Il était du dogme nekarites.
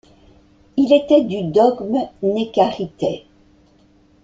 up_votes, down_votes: 1, 2